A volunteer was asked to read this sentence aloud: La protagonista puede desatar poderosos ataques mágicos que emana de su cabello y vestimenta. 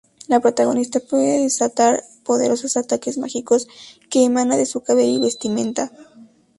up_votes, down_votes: 2, 0